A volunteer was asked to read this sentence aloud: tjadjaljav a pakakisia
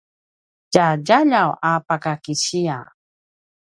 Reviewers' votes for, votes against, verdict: 0, 2, rejected